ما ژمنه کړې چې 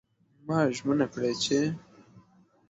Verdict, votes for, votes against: accepted, 2, 0